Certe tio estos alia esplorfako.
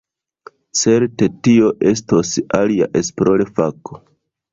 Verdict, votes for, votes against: rejected, 0, 2